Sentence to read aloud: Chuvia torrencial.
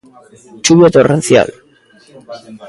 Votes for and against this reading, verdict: 1, 2, rejected